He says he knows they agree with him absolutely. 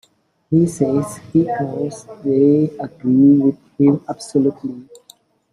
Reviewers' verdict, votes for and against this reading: accepted, 2, 1